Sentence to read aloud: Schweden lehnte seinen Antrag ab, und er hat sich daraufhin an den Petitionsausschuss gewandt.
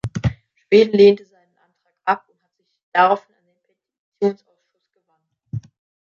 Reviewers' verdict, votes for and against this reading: rejected, 0, 2